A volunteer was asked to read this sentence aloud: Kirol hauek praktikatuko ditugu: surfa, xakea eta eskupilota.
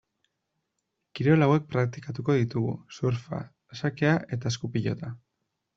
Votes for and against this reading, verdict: 2, 1, accepted